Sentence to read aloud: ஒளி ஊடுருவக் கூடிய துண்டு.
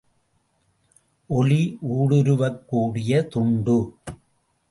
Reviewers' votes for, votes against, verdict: 2, 0, accepted